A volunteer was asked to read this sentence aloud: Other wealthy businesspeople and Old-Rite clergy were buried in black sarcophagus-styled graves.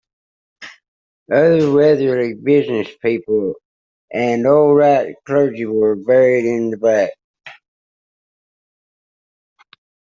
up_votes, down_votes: 1, 2